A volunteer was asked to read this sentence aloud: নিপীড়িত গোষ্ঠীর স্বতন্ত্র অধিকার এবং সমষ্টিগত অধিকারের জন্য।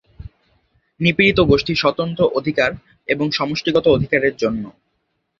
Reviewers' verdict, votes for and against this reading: accepted, 3, 1